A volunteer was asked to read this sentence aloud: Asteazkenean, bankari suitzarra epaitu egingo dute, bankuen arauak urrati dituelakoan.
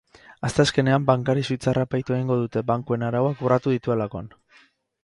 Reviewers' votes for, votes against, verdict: 4, 0, accepted